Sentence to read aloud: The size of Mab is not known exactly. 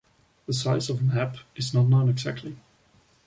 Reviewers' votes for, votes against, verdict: 2, 0, accepted